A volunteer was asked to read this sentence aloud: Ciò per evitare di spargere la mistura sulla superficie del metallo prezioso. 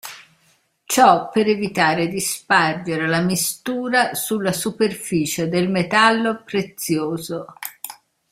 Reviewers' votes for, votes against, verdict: 1, 2, rejected